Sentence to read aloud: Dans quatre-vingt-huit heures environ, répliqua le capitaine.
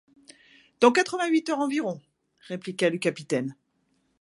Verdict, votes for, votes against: accepted, 2, 0